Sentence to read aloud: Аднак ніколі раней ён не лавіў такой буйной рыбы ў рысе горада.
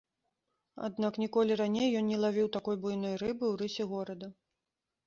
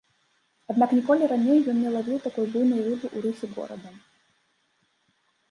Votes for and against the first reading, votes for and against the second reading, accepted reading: 2, 0, 0, 2, first